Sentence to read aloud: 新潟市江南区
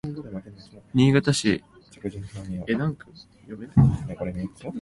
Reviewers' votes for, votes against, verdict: 1, 2, rejected